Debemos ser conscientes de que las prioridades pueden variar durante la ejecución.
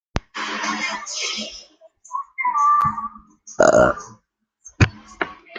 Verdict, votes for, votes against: rejected, 0, 2